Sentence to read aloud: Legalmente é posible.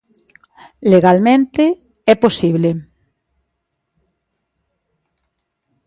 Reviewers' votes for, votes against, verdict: 2, 0, accepted